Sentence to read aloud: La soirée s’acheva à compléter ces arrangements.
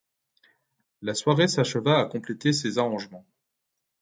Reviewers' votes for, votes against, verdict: 2, 0, accepted